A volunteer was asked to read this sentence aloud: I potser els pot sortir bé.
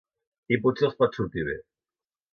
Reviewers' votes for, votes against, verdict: 2, 0, accepted